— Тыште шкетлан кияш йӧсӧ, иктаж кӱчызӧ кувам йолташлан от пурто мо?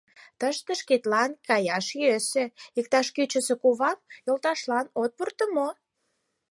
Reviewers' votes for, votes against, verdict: 2, 4, rejected